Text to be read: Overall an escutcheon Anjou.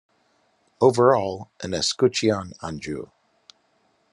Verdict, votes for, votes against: accepted, 2, 1